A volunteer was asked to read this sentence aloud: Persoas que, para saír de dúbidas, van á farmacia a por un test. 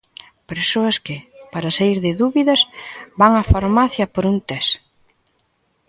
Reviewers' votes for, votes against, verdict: 1, 2, rejected